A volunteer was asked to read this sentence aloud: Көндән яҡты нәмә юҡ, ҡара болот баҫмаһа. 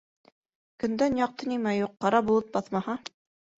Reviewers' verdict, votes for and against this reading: rejected, 1, 2